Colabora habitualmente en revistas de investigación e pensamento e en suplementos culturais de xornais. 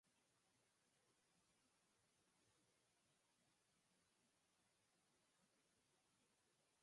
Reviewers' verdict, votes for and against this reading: rejected, 0, 6